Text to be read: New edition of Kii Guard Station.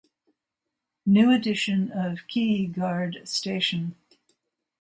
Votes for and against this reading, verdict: 0, 2, rejected